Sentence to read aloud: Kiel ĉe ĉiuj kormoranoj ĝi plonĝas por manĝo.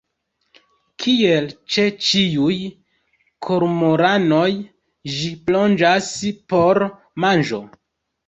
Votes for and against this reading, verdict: 2, 0, accepted